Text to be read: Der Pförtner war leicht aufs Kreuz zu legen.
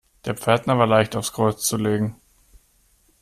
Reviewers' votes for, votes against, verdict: 2, 0, accepted